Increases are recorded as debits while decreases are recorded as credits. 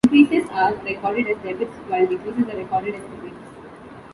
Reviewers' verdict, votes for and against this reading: rejected, 0, 2